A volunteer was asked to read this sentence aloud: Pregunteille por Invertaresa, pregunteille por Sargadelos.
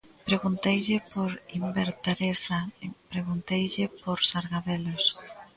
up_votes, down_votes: 1, 2